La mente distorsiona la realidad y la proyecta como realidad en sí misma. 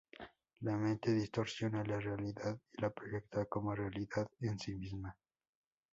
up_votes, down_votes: 2, 0